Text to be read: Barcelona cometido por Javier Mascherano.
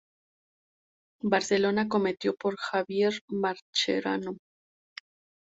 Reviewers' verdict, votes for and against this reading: accepted, 2, 0